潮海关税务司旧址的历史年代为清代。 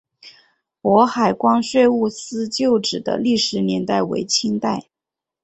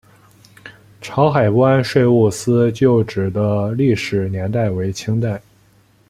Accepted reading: second